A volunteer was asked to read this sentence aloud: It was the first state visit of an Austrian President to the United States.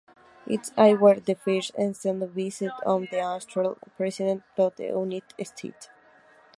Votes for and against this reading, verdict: 0, 2, rejected